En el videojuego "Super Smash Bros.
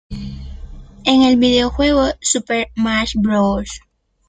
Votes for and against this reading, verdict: 1, 2, rejected